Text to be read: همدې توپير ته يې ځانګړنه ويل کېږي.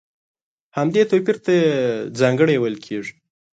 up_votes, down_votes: 1, 2